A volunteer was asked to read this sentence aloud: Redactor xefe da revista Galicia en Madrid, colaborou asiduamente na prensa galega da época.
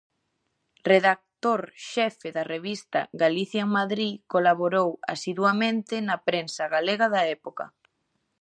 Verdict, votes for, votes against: accepted, 2, 0